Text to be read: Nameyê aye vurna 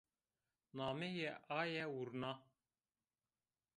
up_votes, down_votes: 2, 0